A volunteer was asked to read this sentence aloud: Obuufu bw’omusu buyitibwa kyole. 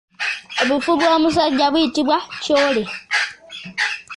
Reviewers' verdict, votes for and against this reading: rejected, 0, 2